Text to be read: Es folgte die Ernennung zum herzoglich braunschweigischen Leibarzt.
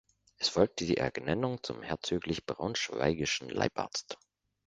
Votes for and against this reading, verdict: 1, 2, rejected